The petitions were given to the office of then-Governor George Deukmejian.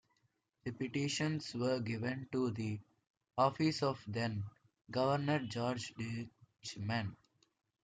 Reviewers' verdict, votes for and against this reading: rejected, 0, 2